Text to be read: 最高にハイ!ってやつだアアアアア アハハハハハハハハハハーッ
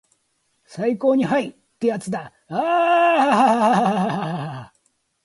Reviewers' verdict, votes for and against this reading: rejected, 2, 4